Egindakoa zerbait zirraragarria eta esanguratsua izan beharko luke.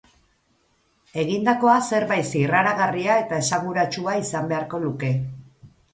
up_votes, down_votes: 4, 0